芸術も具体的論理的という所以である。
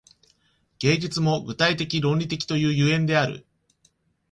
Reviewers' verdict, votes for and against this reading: accepted, 2, 0